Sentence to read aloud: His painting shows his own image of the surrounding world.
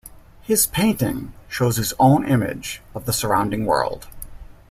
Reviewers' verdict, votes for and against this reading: accepted, 2, 0